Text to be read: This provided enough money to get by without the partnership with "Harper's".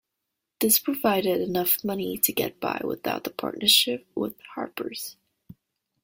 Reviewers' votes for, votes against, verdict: 2, 0, accepted